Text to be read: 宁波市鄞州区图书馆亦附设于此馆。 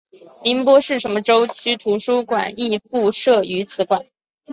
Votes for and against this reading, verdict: 0, 3, rejected